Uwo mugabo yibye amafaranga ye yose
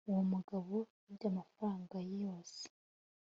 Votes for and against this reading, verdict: 2, 0, accepted